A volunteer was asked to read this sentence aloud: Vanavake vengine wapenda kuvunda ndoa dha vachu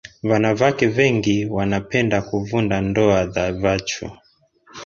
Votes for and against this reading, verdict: 0, 2, rejected